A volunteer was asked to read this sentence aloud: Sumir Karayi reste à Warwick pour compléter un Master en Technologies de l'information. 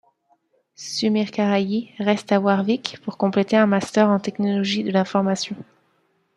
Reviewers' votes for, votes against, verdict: 2, 0, accepted